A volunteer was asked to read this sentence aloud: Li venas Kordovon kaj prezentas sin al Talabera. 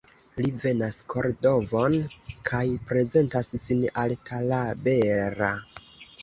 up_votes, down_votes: 0, 2